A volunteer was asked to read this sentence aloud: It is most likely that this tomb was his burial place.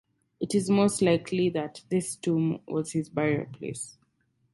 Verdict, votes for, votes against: rejected, 2, 2